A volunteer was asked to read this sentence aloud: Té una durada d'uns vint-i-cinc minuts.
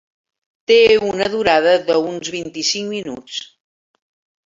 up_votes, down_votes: 1, 2